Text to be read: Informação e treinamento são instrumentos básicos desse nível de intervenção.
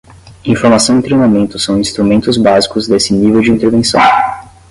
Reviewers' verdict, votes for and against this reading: accepted, 5, 0